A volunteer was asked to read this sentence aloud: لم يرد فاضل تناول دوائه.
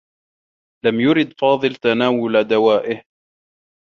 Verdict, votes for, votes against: accepted, 2, 1